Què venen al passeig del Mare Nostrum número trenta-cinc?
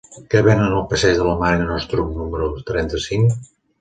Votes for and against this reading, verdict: 1, 2, rejected